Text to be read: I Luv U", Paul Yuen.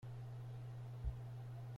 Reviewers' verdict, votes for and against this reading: rejected, 0, 2